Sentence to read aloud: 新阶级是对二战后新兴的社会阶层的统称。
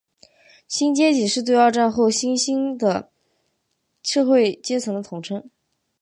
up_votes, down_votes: 0, 2